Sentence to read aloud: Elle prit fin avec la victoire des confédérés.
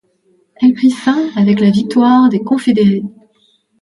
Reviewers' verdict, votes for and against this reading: rejected, 1, 2